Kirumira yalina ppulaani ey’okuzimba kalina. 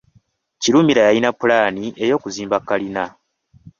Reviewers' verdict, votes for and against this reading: accepted, 2, 1